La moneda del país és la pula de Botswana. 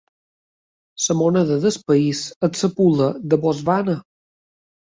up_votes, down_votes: 0, 2